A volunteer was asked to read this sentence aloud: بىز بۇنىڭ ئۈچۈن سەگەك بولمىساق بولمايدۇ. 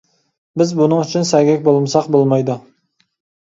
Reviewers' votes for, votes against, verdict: 2, 0, accepted